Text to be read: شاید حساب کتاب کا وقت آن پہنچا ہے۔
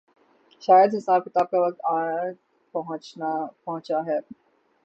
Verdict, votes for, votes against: accepted, 6, 0